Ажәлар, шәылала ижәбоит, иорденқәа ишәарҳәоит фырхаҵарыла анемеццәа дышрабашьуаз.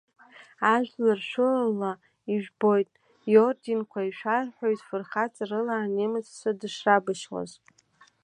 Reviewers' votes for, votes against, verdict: 2, 1, accepted